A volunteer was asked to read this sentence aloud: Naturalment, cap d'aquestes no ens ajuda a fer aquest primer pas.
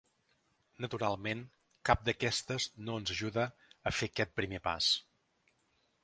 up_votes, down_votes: 3, 0